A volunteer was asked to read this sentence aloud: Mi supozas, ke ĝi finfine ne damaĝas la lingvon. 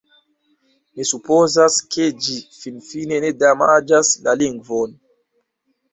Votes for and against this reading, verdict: 2, 1, accepted